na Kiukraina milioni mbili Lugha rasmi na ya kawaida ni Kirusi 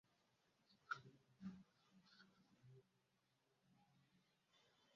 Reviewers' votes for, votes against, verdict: 0, 2, rejected